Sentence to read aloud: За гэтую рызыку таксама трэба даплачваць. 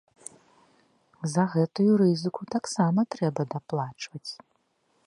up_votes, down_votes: 2, 0